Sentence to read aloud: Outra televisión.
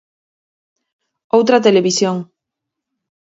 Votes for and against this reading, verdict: 4, 0, accepted